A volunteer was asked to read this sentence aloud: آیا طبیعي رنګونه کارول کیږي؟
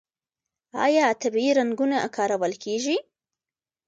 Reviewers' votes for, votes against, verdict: 1, 2, rejected